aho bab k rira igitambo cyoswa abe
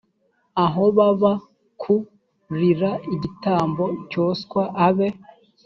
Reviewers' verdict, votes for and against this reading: rejected, 1, 2